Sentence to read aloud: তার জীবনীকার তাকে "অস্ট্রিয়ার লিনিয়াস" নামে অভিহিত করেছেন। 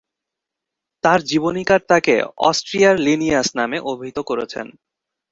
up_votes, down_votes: 2, 1